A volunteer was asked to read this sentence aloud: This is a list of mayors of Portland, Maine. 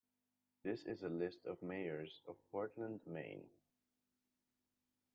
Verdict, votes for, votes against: accepted, 2, 0